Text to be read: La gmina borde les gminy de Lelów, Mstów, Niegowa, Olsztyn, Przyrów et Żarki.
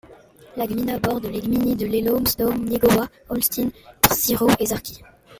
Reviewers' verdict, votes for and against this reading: rejected, 1, 2